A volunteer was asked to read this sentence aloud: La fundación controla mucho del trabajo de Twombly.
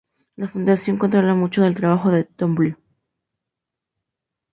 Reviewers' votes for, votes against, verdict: 4, 0, accepted